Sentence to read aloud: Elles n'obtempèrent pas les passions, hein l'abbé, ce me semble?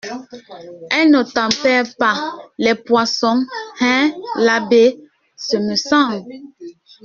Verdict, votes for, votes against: rejected, 0, 2